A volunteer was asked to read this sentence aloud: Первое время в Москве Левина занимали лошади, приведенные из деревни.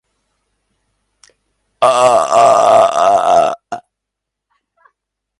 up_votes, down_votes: 0, 2